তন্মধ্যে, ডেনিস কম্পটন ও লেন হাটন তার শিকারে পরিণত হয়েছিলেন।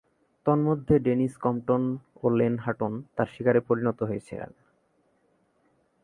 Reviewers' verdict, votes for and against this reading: rejected, 0, 4